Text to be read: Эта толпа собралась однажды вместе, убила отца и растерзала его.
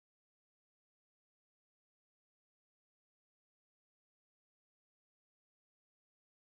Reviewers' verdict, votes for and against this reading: rejected, 0, 2